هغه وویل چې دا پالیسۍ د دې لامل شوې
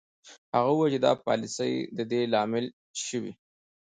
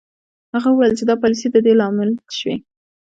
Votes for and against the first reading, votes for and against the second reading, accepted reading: 2, 0, 1, 2, first